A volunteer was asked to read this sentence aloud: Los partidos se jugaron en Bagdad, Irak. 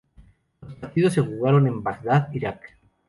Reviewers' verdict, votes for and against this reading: accepted, 2, 0